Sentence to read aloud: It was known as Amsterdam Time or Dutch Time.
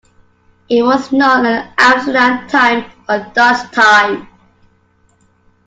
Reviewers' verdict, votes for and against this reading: accepted, 2, 0